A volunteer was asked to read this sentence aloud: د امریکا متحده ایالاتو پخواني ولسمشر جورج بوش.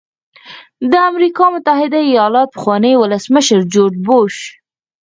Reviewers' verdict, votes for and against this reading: rejected, 2, 4